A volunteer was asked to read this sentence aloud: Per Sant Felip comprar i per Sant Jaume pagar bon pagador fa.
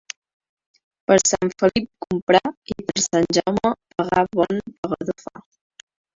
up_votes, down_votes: 2, 1